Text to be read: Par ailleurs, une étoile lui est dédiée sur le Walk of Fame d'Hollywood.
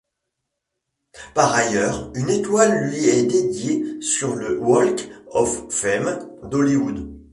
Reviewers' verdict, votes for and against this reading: accepted, 2, 0